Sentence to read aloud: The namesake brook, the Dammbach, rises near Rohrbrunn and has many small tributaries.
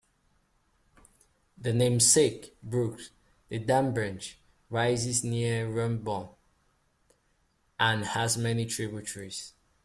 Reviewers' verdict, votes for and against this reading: rejected, 0, 2